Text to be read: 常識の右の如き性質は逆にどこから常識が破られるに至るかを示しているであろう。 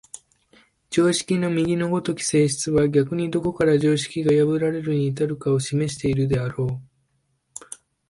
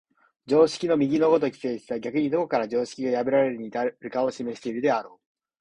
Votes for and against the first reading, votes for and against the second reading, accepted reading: 2, 0, 0, 2, first